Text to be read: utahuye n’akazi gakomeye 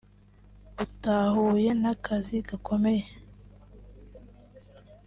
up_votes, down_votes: 2, 0